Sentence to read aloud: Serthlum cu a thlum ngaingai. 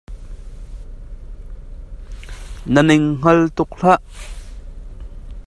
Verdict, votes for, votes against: rejected, 0, 2